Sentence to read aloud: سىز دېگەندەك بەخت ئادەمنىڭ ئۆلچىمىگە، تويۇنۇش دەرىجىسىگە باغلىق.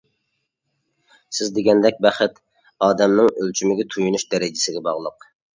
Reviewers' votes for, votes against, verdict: 2, 0, accepted